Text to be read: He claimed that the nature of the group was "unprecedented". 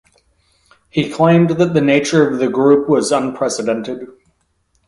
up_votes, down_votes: 2, 0